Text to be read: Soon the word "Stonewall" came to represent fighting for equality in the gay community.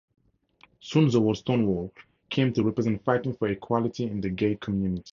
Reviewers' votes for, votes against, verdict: 2, 0, accepted